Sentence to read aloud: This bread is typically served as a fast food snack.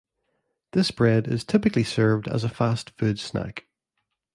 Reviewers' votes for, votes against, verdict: 2, 0, accepted